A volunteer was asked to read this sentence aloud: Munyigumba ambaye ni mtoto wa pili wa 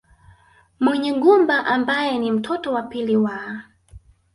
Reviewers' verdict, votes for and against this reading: rejected, 0, 2